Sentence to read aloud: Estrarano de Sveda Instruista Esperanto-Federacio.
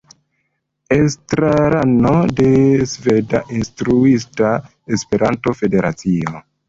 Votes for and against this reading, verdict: 2, 0, accepted